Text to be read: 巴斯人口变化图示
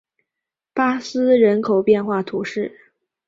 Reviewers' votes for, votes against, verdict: 5, 0, accepted